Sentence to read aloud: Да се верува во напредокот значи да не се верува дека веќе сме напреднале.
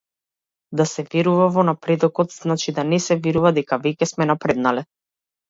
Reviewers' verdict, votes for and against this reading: accepted, 2, 0